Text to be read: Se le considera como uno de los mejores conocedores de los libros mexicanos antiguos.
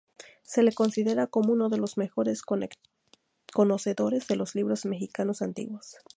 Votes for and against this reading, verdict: 2, 0, accepted